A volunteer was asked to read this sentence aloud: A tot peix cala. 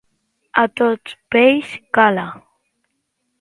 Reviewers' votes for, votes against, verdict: 2, 0, accepted